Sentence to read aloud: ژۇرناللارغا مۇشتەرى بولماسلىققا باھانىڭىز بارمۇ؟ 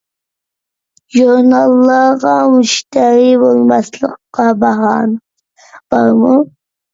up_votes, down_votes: 1, 2